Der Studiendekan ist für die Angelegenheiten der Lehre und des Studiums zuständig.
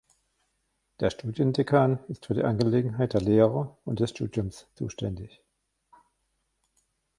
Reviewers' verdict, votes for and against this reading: rejected, 0, 2